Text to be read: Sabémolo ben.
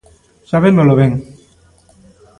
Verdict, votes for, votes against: accepted, 2, 0